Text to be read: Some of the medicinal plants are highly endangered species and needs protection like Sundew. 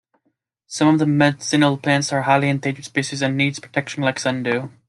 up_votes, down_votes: 1, 2